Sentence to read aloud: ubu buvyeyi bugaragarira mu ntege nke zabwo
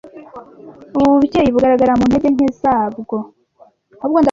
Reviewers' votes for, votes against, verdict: 1, 2, rejected